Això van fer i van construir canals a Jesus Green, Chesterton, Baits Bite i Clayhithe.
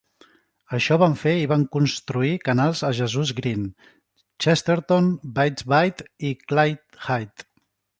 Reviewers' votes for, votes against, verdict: 2, 0, accepted